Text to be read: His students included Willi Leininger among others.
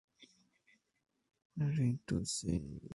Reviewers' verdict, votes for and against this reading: rejected, 0, 2